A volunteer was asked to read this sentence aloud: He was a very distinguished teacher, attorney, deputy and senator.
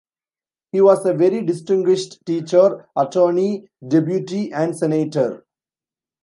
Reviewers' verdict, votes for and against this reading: rejected, 0, 2